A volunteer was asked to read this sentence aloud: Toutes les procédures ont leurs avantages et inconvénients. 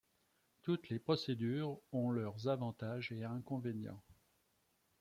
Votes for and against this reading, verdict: 2, 0, accepted